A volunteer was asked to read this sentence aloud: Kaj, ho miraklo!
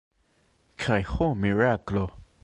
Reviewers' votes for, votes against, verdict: 2, 0, accepted